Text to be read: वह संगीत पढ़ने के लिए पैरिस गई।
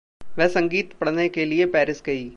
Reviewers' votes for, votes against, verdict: 2, 0, accepted